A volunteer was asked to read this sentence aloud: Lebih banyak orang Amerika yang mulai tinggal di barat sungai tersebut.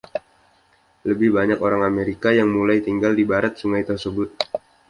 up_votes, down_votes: 2, 0